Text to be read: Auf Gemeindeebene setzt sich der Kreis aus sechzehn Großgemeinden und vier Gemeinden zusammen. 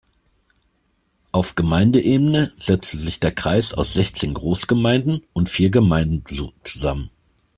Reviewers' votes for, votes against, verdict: 1, 2, rejected